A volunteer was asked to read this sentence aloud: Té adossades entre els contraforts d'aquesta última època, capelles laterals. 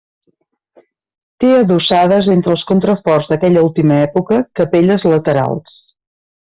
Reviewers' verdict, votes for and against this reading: rejected, 0, 3